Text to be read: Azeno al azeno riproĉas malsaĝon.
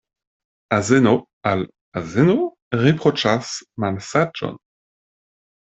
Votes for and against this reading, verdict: 2, 0, accepted